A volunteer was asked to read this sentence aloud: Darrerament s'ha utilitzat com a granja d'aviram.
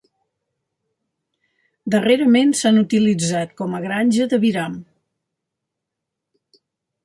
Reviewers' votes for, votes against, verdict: 2, 1, accepted